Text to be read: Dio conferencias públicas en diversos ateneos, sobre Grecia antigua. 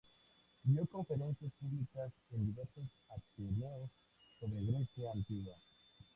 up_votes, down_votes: 2, 0